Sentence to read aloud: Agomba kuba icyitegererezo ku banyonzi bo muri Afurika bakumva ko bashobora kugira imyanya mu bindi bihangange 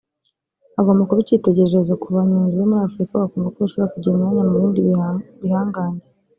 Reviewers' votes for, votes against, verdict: 0, 2, rejected